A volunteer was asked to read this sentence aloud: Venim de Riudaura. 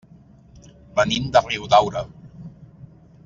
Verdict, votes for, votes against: accepted, 3, 0